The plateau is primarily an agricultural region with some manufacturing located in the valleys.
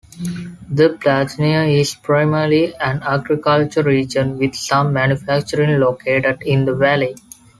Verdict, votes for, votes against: rejected, 0, 2